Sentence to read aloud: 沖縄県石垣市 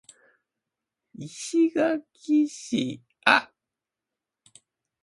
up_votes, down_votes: 0, 2